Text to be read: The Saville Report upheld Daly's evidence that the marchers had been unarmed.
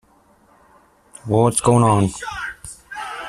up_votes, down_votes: 0, 2